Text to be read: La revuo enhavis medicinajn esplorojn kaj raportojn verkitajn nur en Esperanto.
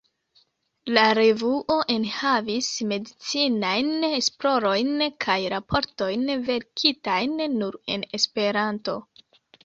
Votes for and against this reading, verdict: 2, 1, accepted